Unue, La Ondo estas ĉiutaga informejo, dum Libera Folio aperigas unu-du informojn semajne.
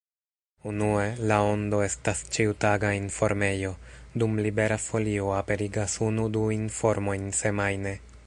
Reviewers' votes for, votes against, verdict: 2, 1, accepted